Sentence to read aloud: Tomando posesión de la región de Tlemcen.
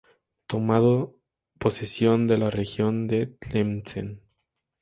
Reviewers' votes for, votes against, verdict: 2, 0, accepted